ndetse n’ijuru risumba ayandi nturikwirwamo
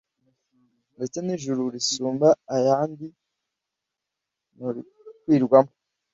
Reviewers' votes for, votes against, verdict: 0, 2, rejected